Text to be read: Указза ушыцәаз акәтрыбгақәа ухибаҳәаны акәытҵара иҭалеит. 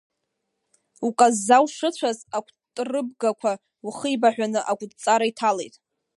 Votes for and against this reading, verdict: 0, 2, rejected